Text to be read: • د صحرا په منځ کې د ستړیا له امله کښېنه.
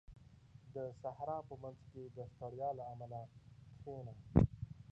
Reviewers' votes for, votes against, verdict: 2, 0, accepted